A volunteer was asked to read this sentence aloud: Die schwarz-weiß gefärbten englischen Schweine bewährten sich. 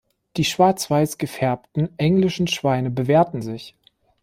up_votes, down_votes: 2, 0